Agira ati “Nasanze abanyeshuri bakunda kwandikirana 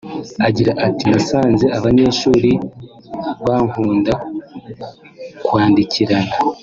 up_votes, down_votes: 0, 2